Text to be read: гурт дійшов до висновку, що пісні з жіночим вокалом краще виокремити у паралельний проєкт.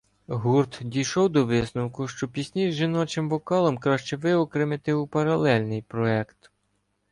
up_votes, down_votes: 0, 2